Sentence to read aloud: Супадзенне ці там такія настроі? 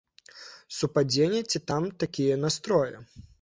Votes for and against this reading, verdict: 2, 0, accepted